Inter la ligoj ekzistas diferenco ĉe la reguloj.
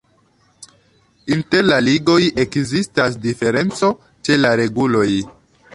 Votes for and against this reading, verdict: 2, 1, accepted